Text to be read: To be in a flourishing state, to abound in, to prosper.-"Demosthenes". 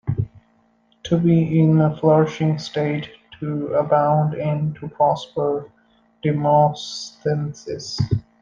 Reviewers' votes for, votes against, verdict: 2, 1, accepted